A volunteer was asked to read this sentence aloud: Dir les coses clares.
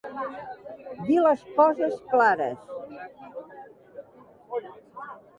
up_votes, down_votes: 1, 2